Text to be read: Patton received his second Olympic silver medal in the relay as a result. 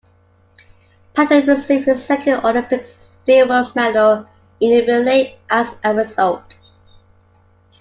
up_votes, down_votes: 2, 1